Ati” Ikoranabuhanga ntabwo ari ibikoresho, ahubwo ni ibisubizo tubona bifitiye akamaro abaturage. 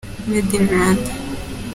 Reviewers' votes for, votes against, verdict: 0, 3, rejected